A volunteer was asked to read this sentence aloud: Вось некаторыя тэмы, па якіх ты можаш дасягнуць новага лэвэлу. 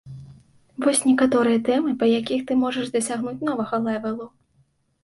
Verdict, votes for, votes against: accepted, 2, 0